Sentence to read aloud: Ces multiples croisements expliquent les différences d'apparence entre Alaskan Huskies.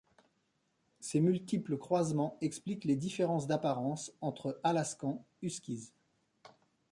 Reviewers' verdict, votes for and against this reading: rejected, 0, 2